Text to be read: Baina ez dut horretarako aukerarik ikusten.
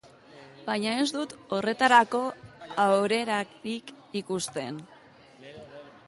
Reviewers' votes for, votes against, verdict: 1, 2, rejected